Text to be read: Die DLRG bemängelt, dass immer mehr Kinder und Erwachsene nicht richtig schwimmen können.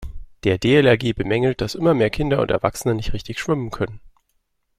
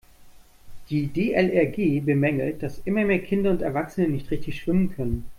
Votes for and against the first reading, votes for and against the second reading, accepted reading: 1, 2, 2, 0, second